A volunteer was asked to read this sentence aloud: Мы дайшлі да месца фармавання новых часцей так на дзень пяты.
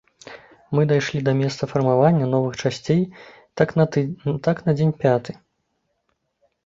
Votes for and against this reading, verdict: 1, 2, rejected